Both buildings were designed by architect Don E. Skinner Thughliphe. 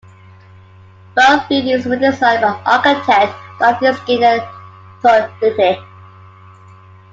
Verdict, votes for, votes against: rejected, 1, 2